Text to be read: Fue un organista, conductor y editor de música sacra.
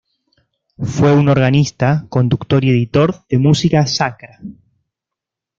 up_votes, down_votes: 1, 2